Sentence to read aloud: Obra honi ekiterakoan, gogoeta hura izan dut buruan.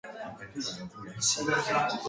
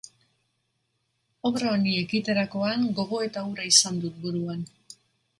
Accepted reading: second